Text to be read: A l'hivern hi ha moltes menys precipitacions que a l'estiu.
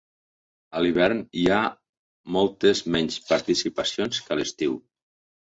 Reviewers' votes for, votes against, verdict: 0, 2, rejected